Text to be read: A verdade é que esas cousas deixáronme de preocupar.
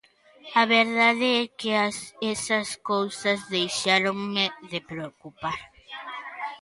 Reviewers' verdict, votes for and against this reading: rejected, 0, 2